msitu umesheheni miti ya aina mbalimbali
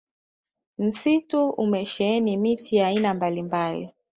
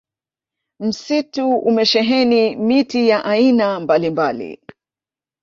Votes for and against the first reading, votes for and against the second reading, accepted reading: 2, 1, 1, 2, first